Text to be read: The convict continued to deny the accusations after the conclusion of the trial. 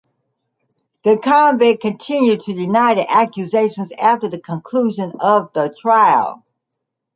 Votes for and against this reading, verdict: 2, 0, accepted